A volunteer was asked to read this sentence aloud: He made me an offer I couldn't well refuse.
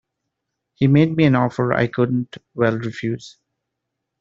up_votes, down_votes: 2, 0